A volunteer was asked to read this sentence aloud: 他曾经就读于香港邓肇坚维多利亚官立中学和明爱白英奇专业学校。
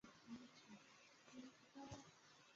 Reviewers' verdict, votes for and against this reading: rejected, 2, 7